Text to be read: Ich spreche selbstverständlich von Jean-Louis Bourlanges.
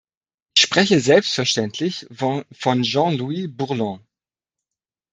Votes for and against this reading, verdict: 0, 2, rejected